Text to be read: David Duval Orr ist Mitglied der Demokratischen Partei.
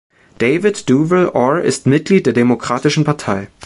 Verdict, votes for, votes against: accepted, 2, 0